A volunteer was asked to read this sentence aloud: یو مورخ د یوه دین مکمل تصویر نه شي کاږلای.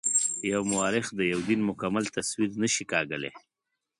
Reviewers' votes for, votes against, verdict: 2, 0, accepted